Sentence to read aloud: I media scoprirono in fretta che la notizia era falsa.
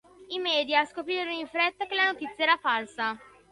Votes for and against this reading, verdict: 2, 0, accepted